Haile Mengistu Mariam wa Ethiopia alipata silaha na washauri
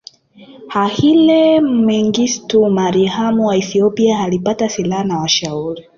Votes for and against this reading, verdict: 0, 2, rejected